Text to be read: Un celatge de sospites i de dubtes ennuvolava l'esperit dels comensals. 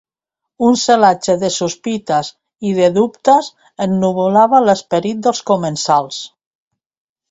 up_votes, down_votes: 3, 0